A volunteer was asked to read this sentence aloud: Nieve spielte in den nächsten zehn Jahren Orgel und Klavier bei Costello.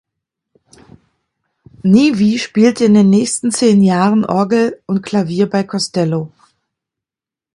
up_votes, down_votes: 0, 2